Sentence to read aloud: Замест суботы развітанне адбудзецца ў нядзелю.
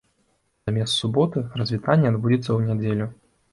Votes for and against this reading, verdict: 2, 0, accepted